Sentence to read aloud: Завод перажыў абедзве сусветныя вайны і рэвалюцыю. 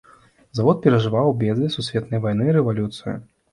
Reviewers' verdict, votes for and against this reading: rejected, 1, 2